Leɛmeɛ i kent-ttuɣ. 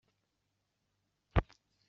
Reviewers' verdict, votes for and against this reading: rejected, 1, 2